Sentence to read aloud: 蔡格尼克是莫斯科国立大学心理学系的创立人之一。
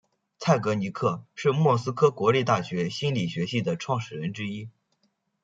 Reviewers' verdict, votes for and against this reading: accepted, 2, 0